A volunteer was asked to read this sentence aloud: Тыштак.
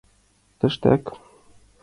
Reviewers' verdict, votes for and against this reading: accepted, 2, 0